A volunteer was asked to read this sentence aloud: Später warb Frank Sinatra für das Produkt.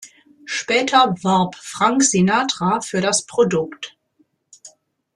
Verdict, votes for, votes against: rejected, 0, 2